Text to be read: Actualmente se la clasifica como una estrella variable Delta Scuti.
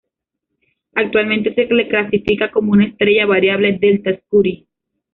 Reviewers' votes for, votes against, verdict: 0, 2, rejected